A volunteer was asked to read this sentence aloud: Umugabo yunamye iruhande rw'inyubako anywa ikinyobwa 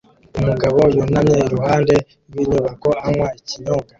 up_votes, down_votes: 2, 0